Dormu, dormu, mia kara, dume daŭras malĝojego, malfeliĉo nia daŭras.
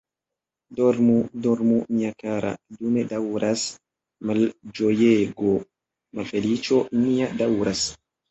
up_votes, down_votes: 2, 1